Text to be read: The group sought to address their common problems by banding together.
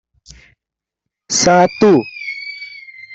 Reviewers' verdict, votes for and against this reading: rejected, 0, 2